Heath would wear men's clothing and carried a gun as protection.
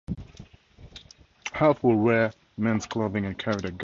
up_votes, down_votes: 2, 2